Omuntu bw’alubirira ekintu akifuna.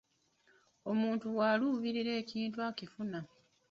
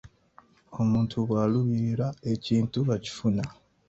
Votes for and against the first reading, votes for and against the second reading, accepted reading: 0, 2, 2, 0, second